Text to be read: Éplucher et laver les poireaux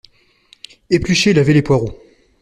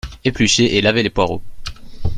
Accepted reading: second